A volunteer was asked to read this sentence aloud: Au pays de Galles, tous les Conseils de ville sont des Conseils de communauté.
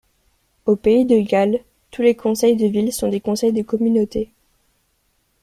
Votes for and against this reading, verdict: 2, 0, accepted